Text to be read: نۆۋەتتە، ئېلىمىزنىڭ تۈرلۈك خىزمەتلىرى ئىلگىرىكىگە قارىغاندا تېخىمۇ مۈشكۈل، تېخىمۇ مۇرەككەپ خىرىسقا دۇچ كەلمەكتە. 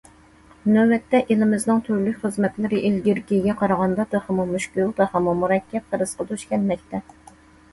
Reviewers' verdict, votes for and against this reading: accepted, 2, 0